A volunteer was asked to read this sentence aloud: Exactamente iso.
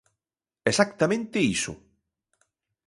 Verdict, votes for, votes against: rejected, 1, 2